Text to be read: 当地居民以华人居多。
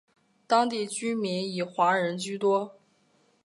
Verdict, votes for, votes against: accepted, 4, 0